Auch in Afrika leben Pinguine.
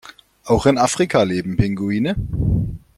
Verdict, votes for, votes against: accepted, 2, 0